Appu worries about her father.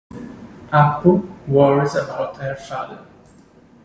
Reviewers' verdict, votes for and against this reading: accepted, 2, 0